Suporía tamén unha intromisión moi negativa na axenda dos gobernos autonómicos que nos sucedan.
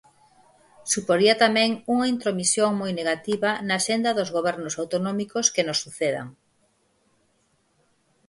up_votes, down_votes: 4, 0